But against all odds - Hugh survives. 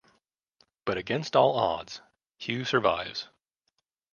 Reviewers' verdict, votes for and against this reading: accepted, 2, 0